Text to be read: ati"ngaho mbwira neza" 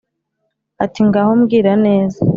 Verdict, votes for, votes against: accepted, 2, 0